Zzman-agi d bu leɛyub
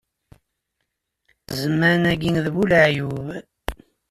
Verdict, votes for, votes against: accepted, 2, 0